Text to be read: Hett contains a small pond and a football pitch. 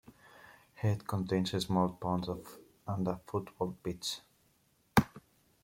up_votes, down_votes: 0, 2